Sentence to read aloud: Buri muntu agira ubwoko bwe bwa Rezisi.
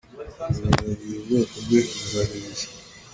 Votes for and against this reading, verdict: 0, 3, rejected